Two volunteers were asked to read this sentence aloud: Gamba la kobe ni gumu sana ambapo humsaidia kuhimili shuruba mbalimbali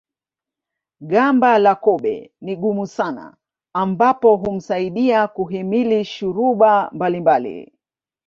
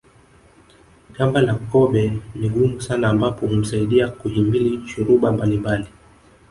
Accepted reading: first